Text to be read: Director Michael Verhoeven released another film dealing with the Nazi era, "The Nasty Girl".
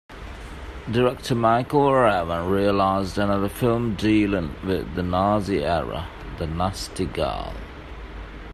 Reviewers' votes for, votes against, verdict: 0, 2, rejected